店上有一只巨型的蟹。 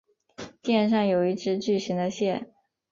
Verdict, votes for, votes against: accepted, 4, 0